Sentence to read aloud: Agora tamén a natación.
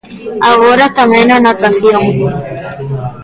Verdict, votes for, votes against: rejected, 1, 2